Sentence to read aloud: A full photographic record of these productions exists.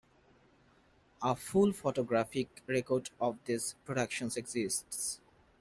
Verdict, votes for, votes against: accepted, 2, 0